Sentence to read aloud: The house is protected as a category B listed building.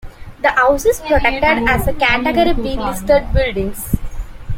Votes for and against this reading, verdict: 3, 0, accepted